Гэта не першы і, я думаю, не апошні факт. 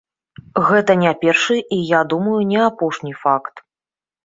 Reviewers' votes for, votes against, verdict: 2, 0, accepted